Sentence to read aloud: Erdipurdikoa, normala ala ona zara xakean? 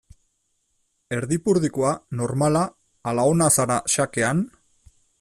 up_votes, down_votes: 2, 0